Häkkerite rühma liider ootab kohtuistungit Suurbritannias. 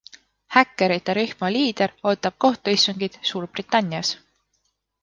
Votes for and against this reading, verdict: 2, 0, accepted